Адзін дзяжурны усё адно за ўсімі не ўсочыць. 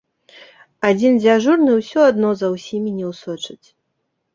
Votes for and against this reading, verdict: 1, 2, rejected